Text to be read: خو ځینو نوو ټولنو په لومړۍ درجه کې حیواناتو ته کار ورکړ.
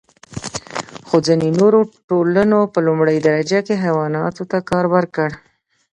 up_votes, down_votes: 0, 2